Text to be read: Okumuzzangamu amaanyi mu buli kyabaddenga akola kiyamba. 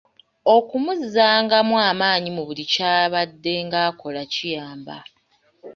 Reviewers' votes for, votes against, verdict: 3, 0, accepted